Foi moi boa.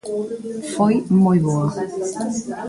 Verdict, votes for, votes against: accepted, 2, 0